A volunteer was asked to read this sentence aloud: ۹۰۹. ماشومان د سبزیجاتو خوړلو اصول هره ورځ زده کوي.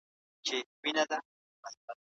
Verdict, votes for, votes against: rejected, 0, 2